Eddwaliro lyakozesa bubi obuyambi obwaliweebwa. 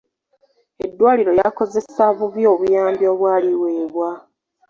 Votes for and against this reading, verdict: 0, 2, rejected